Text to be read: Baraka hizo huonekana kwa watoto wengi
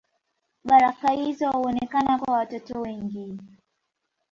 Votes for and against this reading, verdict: 3, 4, rejected